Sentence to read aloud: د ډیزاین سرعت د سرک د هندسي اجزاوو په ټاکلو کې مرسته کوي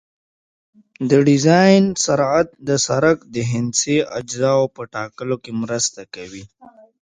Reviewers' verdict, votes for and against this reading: accepted, 2, 0